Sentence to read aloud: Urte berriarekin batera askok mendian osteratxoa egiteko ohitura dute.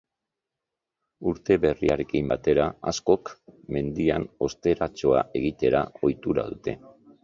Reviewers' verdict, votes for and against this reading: rejected, 1, 3